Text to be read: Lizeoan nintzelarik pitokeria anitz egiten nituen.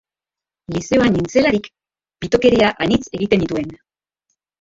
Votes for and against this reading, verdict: 0, 2, rejected